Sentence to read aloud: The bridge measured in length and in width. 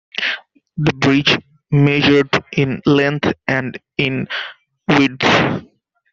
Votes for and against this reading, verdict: 0, 2, rejected